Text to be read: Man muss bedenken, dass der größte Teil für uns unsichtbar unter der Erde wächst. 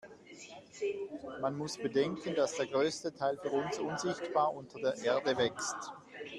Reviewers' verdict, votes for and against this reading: accepted, 2, 0